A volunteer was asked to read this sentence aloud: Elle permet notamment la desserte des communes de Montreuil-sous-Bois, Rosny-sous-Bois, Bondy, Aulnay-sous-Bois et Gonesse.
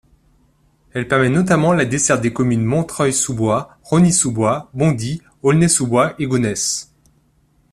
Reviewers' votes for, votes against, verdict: 1, 2, rejected